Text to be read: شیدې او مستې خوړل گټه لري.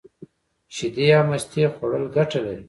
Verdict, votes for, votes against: accepted, 2, 0